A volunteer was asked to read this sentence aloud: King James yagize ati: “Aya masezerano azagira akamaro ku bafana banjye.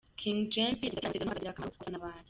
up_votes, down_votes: 0, 2